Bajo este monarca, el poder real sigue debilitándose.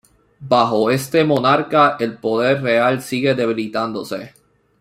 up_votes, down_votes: 0, 2